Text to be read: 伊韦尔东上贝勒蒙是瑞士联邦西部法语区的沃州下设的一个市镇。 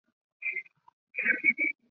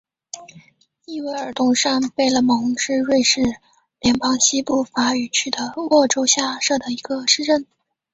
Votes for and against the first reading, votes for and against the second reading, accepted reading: 1, 6, 5, 0, second